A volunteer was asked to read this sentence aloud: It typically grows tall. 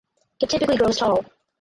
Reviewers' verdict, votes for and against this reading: rejected, 0, 4